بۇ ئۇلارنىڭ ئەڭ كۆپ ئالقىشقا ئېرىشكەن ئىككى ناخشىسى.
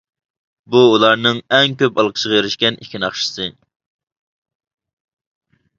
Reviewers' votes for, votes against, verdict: 2, 1, accepted